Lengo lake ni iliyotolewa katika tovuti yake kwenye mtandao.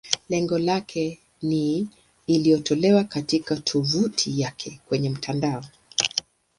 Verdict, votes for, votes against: accepted, 2, 0